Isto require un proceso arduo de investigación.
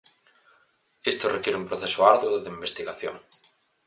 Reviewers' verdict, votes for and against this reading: accepted, 4, 0